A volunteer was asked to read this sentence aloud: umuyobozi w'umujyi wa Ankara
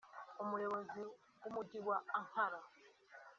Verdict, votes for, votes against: accepted, 2, 0